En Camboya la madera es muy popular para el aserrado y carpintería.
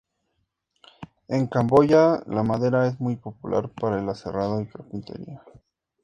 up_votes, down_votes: 2, 0